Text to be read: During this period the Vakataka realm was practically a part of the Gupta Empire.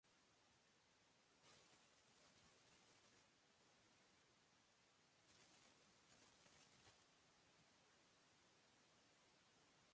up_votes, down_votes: 0, 2